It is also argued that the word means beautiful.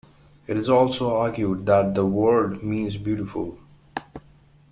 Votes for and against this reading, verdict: 2, 0, accepted